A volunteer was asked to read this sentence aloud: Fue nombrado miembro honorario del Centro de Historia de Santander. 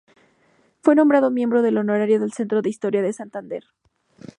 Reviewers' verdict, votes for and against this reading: rejected, 0, 2